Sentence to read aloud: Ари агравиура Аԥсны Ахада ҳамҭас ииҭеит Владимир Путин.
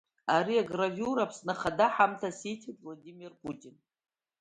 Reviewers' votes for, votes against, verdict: 1, 2, rejected